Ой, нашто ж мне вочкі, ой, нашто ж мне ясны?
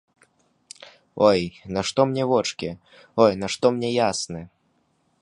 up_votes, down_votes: 0, 2